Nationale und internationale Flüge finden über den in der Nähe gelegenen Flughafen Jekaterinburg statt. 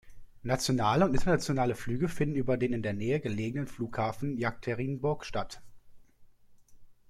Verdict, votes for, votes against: rejected, 1, 2